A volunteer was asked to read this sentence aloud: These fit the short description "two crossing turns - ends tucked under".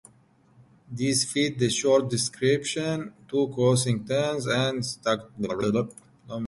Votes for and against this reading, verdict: 0, 2, rejected